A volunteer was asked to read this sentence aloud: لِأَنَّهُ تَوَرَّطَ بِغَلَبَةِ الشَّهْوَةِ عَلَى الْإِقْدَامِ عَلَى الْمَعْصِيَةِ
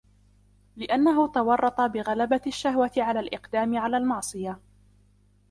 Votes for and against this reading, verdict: 0, 2, rejected